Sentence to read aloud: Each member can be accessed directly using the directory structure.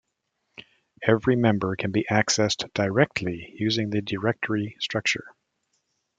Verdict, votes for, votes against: rejected, 1, 3